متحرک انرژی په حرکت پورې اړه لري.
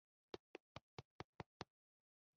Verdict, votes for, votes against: rejected, 1, 2